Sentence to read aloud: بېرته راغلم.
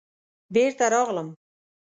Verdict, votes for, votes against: accepted, 2, 0